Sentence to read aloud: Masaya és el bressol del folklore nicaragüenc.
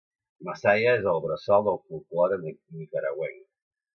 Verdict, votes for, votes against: rejected, 1, 2